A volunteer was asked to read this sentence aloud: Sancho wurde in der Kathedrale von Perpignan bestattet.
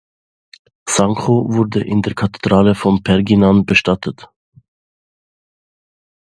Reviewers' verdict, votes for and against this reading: rejected, 1, 2